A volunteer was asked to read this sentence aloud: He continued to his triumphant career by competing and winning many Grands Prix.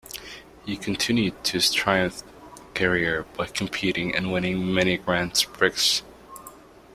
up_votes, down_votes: 0, 2